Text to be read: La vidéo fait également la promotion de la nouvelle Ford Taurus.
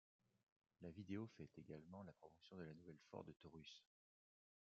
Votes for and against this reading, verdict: 2, 1, accepted